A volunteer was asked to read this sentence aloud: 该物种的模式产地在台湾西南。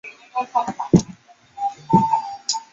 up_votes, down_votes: 3, 5